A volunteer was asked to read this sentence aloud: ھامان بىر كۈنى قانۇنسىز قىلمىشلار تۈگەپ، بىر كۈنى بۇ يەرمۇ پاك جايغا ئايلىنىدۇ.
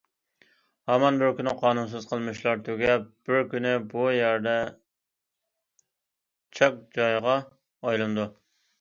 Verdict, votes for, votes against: rejected, 0, 2